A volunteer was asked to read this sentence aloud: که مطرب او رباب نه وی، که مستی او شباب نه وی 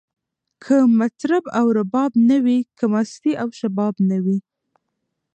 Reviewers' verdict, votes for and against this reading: accepted, 2, 1